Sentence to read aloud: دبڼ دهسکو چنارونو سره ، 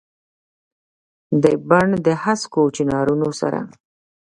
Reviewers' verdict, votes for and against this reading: accepted, 2, 1